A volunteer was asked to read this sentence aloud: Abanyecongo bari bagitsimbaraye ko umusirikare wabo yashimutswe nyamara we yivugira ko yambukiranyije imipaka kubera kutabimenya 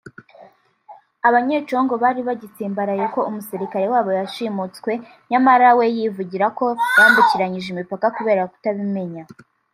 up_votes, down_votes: 2, 1